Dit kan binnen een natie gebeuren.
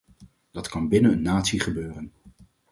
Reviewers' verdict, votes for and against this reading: rejected, 2, 4